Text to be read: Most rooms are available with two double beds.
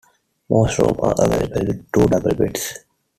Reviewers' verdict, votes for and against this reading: rejected, 0, 2